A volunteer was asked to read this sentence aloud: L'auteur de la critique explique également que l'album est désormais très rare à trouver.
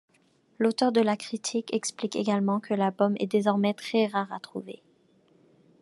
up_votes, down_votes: 2, 0